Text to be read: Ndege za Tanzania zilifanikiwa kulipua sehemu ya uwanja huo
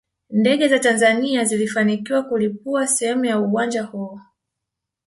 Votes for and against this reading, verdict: 1, 2, rejected